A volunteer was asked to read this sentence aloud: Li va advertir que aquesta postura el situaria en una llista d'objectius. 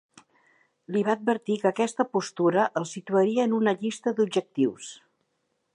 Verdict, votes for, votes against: accepted, 2, 0